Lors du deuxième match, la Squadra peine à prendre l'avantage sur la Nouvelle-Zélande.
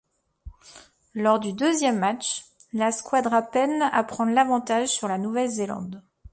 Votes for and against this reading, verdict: 2, 0, accepted